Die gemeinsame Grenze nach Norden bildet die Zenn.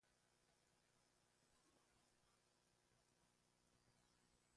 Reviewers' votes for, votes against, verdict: 0, 2, rejected